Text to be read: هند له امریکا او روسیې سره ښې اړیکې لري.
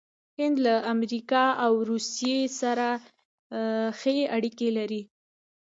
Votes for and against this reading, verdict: 0, 2, rejected